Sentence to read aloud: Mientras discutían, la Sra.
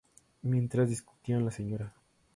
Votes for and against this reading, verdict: 4, 2, accepted